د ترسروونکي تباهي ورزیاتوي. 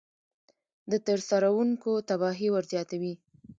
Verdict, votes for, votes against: accepted, 2, 0